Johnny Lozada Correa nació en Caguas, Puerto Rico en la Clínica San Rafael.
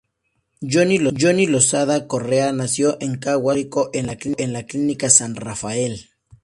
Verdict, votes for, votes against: rejected, 0, 2